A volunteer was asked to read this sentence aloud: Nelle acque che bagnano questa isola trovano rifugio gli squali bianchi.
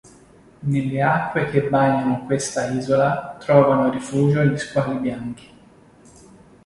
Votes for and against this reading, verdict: 2, 0, accepted